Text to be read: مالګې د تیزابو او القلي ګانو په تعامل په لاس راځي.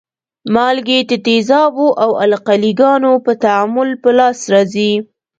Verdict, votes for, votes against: accepted, 2, 0